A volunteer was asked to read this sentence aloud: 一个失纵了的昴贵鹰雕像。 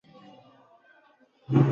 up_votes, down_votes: 0, 2